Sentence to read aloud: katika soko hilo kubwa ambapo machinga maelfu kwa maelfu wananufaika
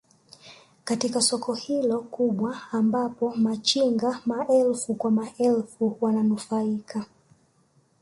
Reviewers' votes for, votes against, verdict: 1, 2, rejected